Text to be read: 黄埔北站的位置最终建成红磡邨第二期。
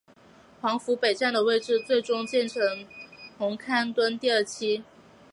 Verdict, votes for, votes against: accepted, 5, 2